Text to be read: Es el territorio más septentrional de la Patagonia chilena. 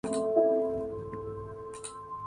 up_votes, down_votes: 2, 2